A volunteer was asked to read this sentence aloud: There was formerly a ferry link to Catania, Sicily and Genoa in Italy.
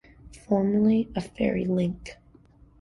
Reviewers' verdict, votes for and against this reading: rejected, 1, 2